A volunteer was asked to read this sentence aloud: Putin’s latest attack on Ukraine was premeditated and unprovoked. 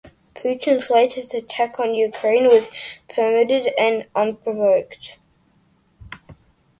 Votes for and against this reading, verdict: 1, 2, rejected